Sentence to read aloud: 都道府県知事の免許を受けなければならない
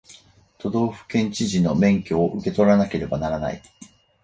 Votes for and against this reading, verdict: 2, 4, rejected